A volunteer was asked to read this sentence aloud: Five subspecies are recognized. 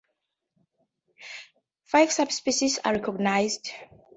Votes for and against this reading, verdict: 2, 0, accepted